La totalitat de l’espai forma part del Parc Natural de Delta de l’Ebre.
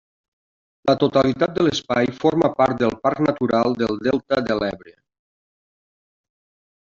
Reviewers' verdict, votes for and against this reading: rejected, 0, 2